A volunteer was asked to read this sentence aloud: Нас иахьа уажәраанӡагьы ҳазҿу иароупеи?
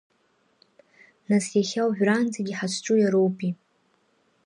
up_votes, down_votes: 3, 0